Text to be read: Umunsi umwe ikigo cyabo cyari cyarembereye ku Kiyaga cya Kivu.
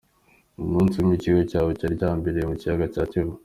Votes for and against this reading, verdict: 2, 0, accepted